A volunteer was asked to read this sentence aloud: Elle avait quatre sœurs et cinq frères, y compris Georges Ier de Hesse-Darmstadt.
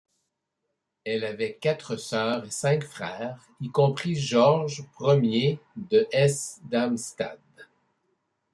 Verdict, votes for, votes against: rejected, 1, 2